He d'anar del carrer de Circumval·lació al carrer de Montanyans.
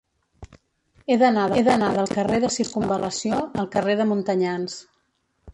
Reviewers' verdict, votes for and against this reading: rejected, 0, 2